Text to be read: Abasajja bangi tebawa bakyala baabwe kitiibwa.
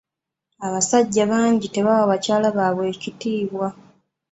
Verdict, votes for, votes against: rejected, 2, 3